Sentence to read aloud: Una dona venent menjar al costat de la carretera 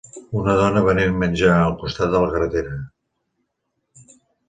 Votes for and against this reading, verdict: 1, 2, rejected